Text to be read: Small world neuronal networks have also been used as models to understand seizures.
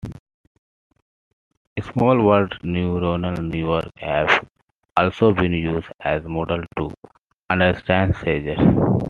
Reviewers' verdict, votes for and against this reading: rejected, 1, 2